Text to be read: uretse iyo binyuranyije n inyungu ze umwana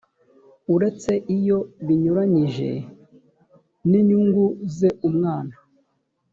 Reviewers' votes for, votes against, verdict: 2, 0, accepted